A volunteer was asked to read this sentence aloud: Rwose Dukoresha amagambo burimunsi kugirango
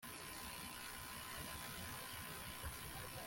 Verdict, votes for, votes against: rejected, 0, 2